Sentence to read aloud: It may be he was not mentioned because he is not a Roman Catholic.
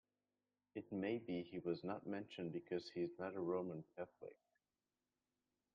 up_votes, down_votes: 1, 2